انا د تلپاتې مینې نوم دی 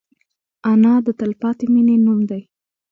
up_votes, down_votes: 0, 2